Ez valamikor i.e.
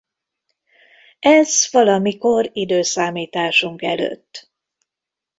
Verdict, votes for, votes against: rejected, 0, 2